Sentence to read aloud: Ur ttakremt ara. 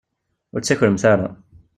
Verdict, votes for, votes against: accepted, 2, 0